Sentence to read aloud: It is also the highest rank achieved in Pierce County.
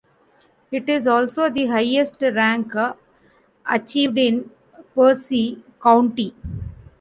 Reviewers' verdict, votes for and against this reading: rejected, 1, 2